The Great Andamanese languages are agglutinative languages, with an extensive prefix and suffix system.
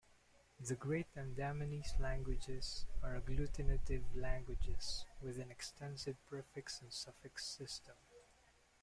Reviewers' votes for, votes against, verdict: 1, 2, rejected